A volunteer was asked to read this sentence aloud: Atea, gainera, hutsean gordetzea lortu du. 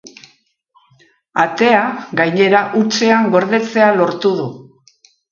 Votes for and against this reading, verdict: 2, 0, accepted